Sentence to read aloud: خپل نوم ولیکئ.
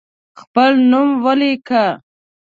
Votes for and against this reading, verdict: 1, 2, rejected